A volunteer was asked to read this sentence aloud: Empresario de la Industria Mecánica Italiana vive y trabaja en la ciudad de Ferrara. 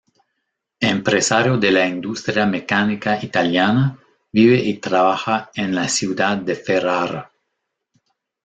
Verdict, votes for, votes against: rejected, 1, 2